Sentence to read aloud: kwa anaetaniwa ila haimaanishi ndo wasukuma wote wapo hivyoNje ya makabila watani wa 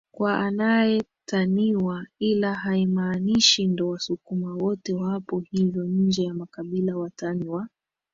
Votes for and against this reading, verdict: 2, 2, rejected